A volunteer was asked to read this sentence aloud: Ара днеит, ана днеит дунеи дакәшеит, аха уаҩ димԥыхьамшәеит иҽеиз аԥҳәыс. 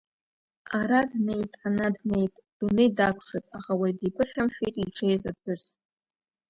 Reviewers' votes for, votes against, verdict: 2, 0, accepted